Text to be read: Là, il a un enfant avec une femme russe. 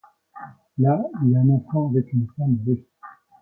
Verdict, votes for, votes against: accepted, 2, 1